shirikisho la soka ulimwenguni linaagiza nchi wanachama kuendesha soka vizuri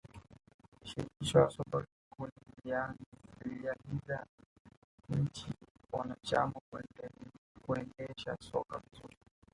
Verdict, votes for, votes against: rejected, 1, 2